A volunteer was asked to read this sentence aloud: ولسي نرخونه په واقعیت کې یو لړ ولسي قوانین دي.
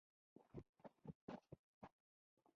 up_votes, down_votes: 0, 2